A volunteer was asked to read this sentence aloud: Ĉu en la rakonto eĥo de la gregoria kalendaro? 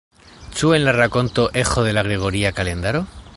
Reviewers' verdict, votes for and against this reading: accepted, 2, 1